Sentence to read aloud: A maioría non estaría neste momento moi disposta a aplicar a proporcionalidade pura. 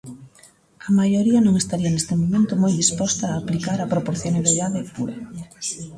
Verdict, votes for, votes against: rejected, 0, 2